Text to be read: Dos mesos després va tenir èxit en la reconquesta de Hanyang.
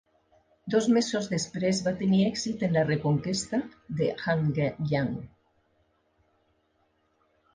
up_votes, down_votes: 2, 3